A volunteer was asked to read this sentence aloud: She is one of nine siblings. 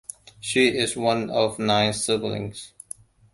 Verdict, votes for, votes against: accepted, 2, 0